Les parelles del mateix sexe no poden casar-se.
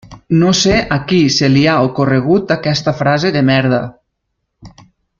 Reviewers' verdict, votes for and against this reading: rejected, 0, 2